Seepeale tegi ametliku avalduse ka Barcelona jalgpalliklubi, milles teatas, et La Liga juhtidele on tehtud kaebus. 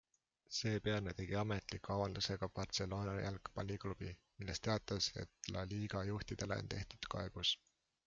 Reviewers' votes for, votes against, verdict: 2, 0, accepted